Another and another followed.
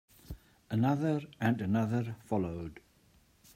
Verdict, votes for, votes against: accepted, 2, 0